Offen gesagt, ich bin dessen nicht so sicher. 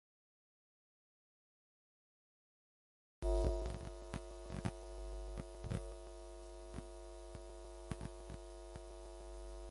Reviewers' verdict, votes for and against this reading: rejected, 0, 2